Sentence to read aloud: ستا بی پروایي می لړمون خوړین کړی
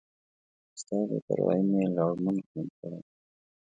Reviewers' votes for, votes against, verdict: 2, 0, accepted